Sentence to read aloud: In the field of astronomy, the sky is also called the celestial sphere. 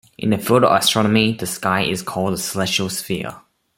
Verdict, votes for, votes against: rejected, 1, 2